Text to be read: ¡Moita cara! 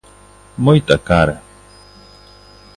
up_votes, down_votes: 2, 1